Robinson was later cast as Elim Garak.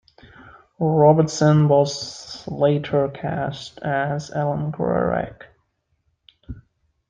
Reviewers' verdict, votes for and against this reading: accepted, 2, 0